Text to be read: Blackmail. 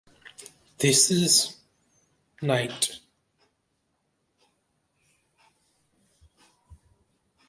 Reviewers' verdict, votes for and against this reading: rejected, 0, 2